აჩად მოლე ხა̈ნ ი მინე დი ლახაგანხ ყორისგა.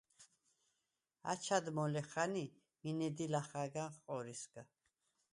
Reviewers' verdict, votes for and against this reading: accepted, 4, 2